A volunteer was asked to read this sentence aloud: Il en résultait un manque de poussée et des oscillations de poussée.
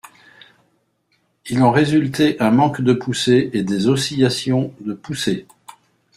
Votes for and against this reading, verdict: 2, 0, accepted